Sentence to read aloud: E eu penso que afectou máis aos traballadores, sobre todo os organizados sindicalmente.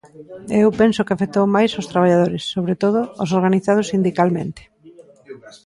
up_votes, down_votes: 2, 1